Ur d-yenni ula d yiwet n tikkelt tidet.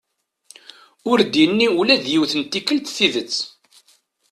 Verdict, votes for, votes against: accepted, 2, 0